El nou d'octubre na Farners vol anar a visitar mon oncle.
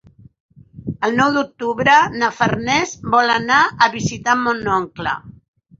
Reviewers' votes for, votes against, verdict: 6, 2, accepted